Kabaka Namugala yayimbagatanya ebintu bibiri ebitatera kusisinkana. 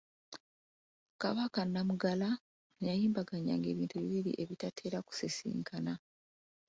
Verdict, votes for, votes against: accepted, 2, 0